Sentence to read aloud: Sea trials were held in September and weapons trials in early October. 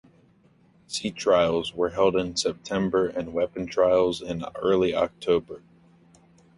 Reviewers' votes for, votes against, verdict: 2, 0, accepted